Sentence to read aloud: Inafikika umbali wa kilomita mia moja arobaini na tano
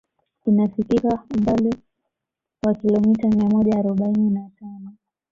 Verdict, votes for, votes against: rejected, 1, 2